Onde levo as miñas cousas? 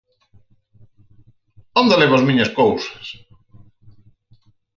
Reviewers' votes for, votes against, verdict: 4, 0, accepted